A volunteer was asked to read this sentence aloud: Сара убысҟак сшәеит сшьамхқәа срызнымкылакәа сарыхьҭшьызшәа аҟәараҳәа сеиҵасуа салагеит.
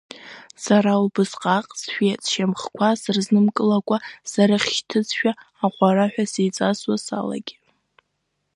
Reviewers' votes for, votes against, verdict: 3, 0, accepted